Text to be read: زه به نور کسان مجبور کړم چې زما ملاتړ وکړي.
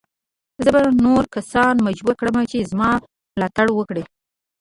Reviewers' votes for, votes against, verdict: 2, 0, accepted